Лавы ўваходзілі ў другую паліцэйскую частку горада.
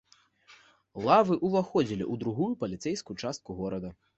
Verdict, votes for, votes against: accepted, 2, 0